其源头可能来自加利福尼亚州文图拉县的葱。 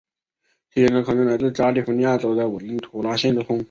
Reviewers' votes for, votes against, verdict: 1, 2, rejected